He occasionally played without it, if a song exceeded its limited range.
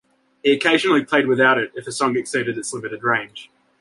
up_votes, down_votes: 2, 0